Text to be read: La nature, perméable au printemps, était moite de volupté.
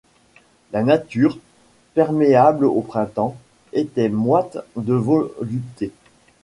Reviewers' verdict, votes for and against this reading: accepted, 2, 0